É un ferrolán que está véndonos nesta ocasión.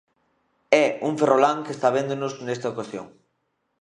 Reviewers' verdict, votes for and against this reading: accepted, 2, 0